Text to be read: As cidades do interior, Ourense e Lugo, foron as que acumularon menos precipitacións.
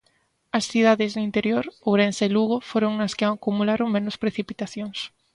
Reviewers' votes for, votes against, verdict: 1, 2, rejected